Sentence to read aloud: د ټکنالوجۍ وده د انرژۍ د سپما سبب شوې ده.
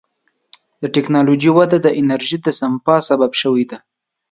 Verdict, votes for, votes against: accepted, 2, 0